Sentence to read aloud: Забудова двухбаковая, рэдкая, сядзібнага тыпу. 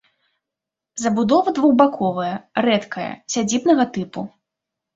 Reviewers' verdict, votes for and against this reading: accepted, 2, 0